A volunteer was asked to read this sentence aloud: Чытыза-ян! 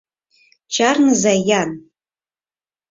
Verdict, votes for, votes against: rejected, 0, 4